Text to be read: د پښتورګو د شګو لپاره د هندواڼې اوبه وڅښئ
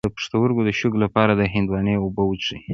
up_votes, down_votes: 0, 2